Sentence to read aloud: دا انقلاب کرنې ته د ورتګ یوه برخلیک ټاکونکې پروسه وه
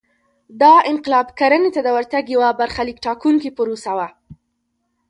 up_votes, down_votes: 2, 0